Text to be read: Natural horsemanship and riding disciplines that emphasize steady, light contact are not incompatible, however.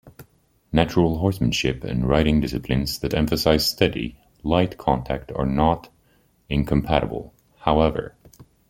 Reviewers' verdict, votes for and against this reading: accepted, 2, 0